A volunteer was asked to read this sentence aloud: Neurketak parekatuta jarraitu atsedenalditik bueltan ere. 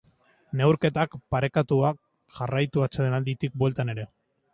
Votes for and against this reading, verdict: 0, 2, rejected